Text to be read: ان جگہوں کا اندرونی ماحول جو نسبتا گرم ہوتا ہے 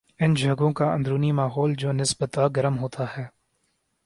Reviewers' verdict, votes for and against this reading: accepted, 7, 2